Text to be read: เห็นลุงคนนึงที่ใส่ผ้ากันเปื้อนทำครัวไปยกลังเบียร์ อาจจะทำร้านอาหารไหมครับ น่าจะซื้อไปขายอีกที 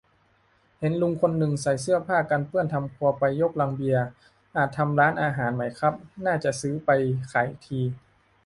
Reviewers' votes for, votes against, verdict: 0, 2, rejected